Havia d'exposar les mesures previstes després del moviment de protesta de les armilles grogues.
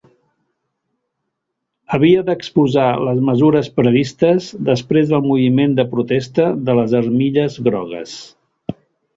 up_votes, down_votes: 2, 0